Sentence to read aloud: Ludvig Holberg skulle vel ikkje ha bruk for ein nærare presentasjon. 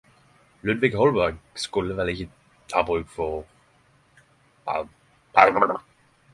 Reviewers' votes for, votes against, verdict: 0, 10, rejected